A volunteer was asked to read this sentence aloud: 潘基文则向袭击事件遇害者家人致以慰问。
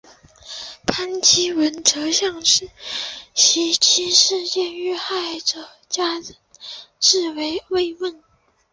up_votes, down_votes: 1, 2